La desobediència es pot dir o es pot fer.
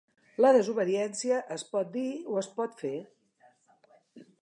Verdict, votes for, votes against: accepted, 3, 0